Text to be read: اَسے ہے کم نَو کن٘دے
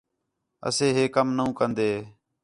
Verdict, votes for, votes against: accepted, 4, 0